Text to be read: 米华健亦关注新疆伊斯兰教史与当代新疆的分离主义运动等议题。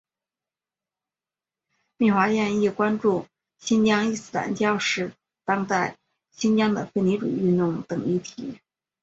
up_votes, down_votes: 2, 1